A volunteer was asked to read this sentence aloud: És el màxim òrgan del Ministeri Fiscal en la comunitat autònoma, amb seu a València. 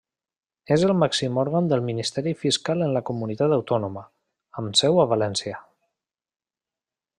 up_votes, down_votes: 3, 0